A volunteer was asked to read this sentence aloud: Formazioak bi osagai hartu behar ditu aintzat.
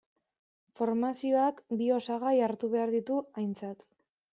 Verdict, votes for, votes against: accepted, 2, 0